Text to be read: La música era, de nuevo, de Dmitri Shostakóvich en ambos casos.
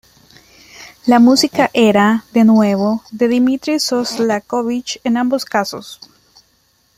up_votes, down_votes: 1, 2